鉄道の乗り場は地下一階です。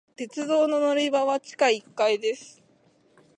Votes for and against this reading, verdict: 2, 0, accepted